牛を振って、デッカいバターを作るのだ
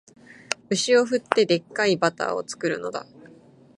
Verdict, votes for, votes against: accepted, 2, 1